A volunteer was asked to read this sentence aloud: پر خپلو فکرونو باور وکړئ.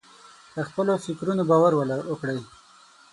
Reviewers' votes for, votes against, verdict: 3, 6, rejected